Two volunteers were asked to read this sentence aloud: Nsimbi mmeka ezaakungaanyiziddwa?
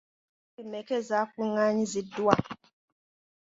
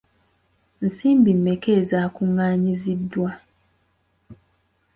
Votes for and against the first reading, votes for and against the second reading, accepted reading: 1, 2, 2, 1, second